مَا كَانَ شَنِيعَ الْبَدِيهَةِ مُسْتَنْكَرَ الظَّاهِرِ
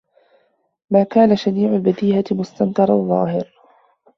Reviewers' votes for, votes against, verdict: 0, 2, rejected